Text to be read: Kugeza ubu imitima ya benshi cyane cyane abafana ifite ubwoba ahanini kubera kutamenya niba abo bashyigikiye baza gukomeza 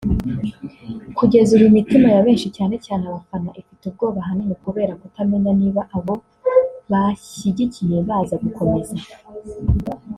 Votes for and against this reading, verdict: 0, 2, rejected